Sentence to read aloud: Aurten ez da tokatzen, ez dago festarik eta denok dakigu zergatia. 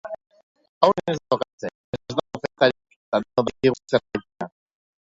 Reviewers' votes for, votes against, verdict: 0, 2, rejected